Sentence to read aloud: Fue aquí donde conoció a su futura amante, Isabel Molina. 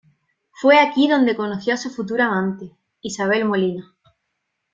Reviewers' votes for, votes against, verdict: 2, 0, accepted